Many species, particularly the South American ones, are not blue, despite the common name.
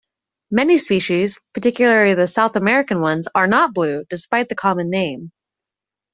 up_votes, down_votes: 2, 0